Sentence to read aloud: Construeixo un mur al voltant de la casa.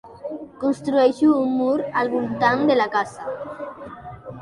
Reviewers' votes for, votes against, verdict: 2, 1, accepted